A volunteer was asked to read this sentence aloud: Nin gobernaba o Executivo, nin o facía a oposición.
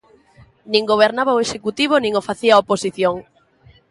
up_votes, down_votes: 3, 0